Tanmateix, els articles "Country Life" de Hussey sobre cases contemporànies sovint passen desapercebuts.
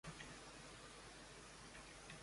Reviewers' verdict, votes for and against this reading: rejected, 0, 2